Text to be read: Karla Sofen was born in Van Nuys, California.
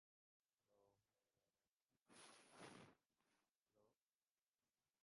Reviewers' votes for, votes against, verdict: 0, 2, rejected